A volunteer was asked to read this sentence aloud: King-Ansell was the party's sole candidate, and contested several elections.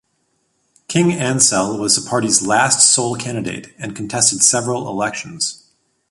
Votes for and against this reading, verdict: 0, 2, rejected